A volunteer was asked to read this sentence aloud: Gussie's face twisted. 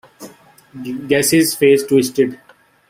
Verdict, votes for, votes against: rejected, 1, 2